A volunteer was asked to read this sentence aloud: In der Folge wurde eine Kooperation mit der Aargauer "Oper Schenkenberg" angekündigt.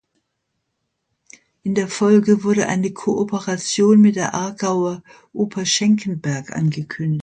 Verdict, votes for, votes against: rejected, 0, 2